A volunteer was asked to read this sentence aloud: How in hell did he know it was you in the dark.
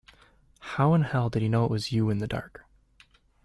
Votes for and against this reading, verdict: 2, 0, accepted